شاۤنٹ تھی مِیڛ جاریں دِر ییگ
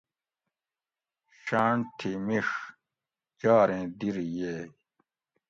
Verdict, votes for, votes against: accepted, 2, 0